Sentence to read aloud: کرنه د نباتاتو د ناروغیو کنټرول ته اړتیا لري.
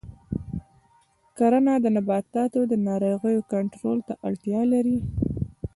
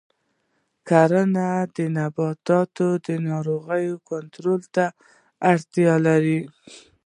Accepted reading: first